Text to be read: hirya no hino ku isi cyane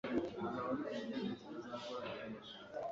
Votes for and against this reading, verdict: 1, 2, rejected